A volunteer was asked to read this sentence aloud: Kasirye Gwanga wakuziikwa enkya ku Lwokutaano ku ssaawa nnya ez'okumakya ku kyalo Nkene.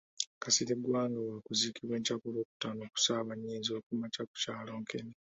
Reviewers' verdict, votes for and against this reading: accepted, 2, 0